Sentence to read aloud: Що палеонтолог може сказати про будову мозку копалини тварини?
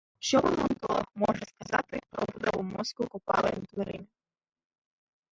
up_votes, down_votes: 0, 2